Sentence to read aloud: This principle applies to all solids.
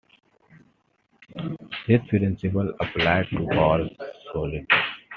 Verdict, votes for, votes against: accepted, 2, 1